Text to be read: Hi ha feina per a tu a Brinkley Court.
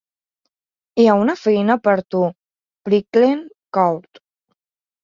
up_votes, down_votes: 0, 3